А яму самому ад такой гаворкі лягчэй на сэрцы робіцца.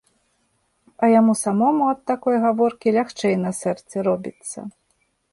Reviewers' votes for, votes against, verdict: 3, 0, accepted